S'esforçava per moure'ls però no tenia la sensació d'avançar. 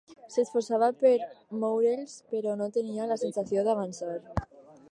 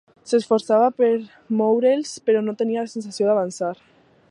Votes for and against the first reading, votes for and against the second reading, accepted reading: 4, 2, 1, 2, first